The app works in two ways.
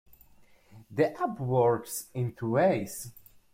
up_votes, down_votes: 2, 0